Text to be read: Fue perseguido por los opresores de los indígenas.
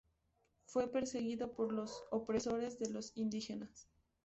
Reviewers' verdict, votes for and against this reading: accepted, 4, 0